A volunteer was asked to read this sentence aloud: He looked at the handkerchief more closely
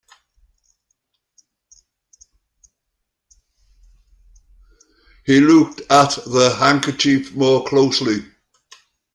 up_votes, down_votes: 2, 0